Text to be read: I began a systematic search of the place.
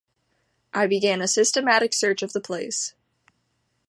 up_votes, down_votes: 3, 0